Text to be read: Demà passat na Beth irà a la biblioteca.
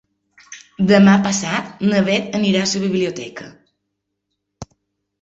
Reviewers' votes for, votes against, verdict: 1, 2, rejected